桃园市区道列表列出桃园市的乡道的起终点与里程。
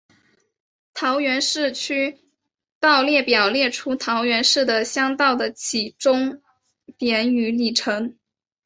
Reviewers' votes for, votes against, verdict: 8, 0, accepted